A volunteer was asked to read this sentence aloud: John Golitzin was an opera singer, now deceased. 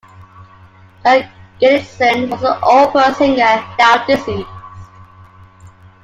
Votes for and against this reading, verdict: 0, 2, rejected